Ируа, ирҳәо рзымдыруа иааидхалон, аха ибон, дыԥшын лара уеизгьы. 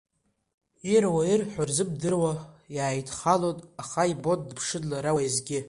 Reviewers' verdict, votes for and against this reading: accepted, 2, 1